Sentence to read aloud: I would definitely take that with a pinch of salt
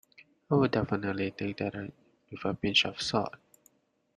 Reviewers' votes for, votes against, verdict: 0, 2, rejected